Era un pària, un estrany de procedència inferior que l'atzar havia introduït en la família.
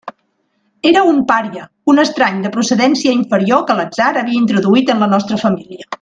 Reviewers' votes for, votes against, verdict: 0, 2, rejected